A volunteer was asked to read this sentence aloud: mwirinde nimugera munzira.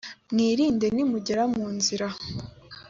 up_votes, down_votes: 2, 0